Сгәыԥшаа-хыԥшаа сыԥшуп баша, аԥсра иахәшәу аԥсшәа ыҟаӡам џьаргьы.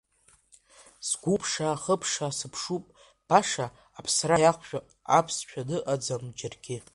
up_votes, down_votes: 1, 2